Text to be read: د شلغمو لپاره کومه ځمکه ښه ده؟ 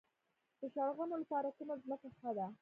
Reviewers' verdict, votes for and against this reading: accepted, 3, 0